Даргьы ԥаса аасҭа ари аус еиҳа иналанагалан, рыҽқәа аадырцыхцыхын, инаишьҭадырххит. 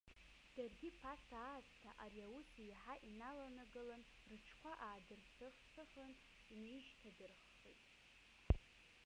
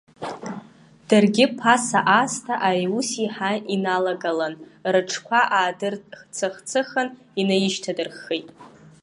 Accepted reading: second